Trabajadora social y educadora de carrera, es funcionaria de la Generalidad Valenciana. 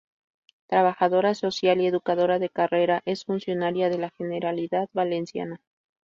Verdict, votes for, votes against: rejected, 0, 2